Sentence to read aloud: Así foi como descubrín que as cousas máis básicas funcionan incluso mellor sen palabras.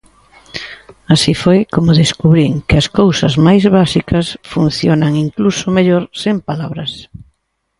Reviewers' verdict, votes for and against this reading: accepted, 2, 1